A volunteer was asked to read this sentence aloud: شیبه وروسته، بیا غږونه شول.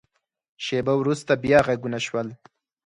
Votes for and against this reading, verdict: 4, 0, accepted